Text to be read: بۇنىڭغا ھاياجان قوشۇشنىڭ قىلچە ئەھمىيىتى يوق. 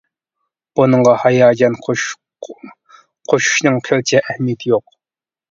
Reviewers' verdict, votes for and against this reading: rejected, 0, 2